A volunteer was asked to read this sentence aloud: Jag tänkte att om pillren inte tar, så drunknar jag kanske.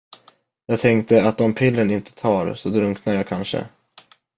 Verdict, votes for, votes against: accepted, 3, 0